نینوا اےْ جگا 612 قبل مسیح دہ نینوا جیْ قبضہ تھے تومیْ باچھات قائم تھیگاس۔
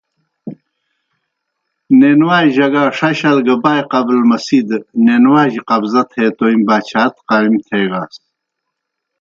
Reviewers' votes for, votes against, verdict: 0, 2, rejected